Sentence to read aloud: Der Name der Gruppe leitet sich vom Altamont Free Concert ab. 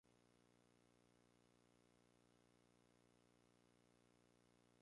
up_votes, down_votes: 0, 2